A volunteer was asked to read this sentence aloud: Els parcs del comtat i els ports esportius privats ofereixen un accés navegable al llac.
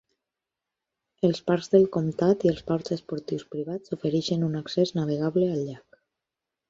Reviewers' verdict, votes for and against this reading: accepted, 4, 0